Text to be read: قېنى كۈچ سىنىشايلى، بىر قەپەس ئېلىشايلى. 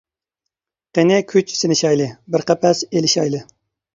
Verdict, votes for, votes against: accepted, 2, 0